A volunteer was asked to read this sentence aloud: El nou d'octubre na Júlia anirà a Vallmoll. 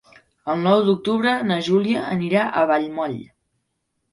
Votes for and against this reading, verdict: 3, 0, accepted